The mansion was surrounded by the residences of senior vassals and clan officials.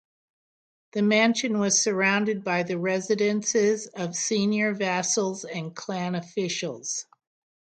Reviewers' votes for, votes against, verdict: 6, 0, accepted